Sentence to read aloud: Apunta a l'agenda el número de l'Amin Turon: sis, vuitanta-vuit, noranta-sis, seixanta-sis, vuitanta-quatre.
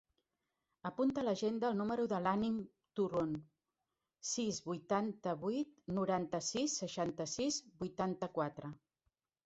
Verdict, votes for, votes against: rejected, 0, 2